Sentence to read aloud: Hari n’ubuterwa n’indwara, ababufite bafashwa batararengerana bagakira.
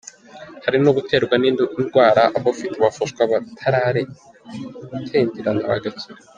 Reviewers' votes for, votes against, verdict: 0, 2, rejected